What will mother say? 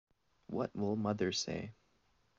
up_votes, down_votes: 3, 0